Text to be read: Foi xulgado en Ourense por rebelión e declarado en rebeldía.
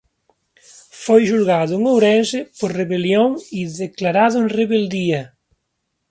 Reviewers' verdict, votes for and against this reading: rejected, 1, 2